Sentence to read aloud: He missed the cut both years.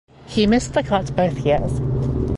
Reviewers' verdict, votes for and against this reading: accepted, 2, 0